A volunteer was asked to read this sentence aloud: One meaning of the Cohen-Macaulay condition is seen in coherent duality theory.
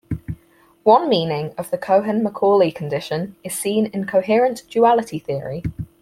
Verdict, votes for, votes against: accepted, 4, 0